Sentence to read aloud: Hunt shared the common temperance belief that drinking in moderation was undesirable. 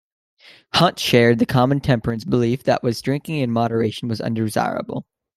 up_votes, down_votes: 0, 2